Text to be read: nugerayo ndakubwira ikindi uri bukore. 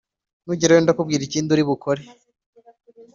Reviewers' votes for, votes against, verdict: 2, 0, accepted